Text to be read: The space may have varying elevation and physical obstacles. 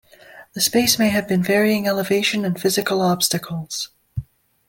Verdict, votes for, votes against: accepted, 2, 0